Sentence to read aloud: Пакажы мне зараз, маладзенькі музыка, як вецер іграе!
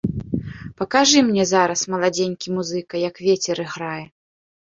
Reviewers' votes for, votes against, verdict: 2, 0, accepted